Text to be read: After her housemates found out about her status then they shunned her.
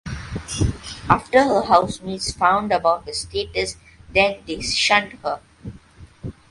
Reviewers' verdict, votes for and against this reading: accepted, 3, 1